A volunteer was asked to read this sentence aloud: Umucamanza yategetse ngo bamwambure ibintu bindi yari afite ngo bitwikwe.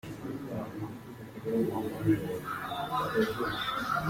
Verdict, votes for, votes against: rejected, 0, 2